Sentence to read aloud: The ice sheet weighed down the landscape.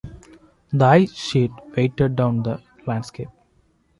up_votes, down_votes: 1, 2